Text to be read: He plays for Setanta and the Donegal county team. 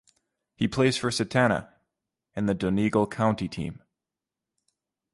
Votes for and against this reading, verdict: 1, 2, rejected